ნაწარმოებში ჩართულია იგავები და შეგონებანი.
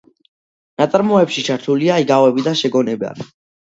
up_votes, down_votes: 2, 0